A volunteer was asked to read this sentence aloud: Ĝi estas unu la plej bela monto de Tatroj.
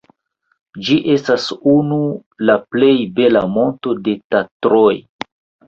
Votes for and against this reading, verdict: 0, 2, rejected